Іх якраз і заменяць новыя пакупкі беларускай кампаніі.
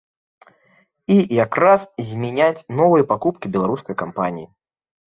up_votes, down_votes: 1, 2